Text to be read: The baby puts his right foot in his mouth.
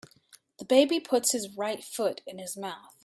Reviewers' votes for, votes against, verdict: 2, 0, accepted